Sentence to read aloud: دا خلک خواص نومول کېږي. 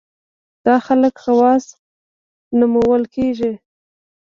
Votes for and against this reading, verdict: 1, 2, rejected